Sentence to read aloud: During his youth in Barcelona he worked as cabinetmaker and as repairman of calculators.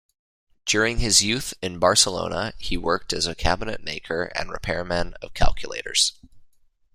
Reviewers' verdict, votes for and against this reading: rejected, 1, 2